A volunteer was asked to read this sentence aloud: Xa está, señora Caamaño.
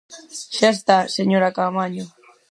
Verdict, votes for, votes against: rejected, 0, 4